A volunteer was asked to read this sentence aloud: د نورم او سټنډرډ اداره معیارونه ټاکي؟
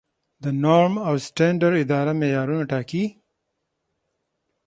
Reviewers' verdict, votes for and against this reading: accepted, 6, 3